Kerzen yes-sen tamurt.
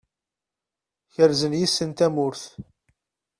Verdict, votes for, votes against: accepted, 2, 0